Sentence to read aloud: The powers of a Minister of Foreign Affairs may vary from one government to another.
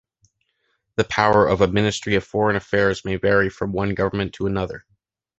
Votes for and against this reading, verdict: 0, 2, rejected